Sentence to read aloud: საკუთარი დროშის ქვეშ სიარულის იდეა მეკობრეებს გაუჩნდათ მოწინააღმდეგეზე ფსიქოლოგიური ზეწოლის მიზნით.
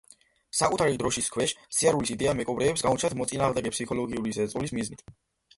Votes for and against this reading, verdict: 0, 2, rejected